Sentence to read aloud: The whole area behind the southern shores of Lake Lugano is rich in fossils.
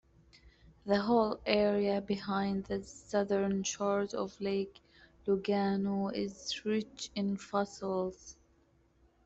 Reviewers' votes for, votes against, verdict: 2, 0, accepted